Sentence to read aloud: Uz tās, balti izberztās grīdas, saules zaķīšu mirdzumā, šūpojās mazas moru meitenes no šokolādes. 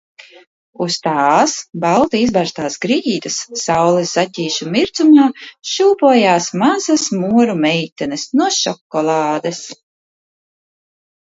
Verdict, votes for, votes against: accepted, 2, 0